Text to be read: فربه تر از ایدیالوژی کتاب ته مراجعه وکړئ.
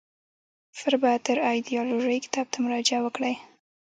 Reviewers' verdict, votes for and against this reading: accepted, 2, 0